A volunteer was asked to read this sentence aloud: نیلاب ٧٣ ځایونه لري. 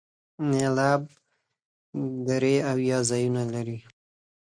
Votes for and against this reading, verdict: 0, 2, rejected